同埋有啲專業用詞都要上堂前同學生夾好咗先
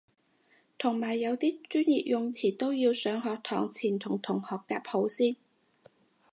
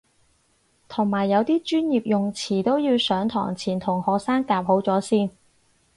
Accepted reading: second